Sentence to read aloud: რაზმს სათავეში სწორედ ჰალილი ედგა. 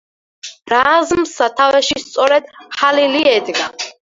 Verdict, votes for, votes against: accepted, 4, 0